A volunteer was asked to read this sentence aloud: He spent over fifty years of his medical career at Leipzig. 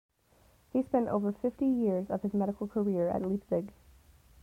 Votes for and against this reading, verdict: 2, 0, accepted